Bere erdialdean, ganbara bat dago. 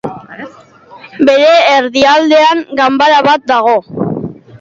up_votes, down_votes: 2, 0